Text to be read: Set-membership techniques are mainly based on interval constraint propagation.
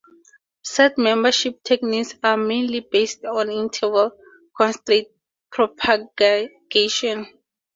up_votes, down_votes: 0, 2